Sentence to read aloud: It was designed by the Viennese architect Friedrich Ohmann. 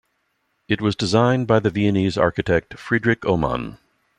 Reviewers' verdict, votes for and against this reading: accepted, 2, 0